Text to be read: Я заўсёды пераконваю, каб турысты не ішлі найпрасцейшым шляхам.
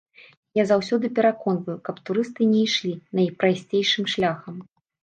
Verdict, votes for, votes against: accepted, 2, 0